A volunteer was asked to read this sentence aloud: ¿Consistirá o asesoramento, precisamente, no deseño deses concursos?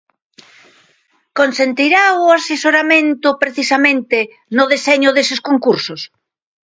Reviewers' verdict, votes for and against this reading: rejected, 1, 2